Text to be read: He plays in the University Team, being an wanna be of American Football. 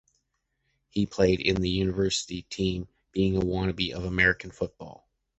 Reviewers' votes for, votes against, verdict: 0, 2, rejected